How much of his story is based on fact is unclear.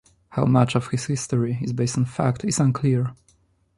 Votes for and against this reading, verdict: 2, 0, accepted